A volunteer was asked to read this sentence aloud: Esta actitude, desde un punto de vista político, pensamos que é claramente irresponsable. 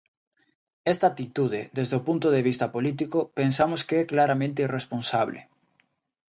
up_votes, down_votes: 0, 2